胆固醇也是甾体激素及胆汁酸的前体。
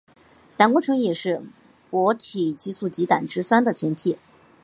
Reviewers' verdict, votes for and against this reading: accepted, 5, 1